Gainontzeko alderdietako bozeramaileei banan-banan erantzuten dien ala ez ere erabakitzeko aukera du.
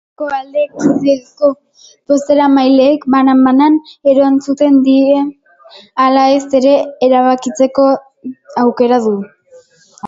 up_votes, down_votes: 0, 2